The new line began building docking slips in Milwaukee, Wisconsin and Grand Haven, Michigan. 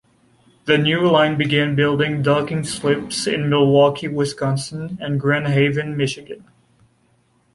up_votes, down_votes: 2, 0